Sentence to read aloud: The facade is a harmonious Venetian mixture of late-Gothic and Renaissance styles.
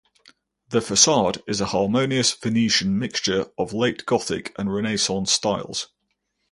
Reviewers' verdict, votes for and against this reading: accepted, 4, 0